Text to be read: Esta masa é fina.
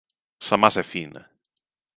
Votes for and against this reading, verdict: 0, 2, rejected